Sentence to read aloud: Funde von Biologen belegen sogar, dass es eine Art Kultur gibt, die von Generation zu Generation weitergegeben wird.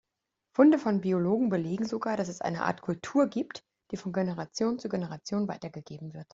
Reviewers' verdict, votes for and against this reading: accepted, 2, 0